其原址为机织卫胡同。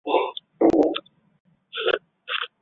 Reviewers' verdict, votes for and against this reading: rejected, 0, 2